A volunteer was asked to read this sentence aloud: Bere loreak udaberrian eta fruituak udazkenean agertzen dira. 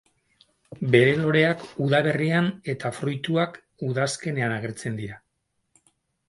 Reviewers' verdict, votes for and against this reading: rejected, 2, 2